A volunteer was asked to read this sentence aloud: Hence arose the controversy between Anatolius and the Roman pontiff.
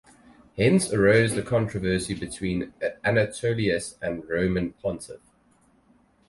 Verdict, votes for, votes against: rejected, 2, 2